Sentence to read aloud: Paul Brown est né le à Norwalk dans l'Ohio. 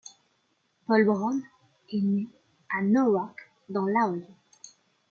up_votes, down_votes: 0, 2